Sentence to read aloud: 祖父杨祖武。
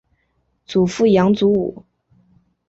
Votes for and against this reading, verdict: 2, 0, accepted